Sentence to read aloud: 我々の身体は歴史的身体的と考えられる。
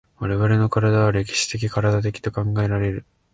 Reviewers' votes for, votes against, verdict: 0, 2, rejected